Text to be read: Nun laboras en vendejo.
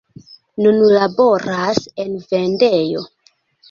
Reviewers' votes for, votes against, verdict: 1, 2, rejected